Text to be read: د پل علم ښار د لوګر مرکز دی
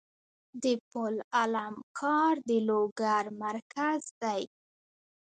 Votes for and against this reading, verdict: 2, 1, accepted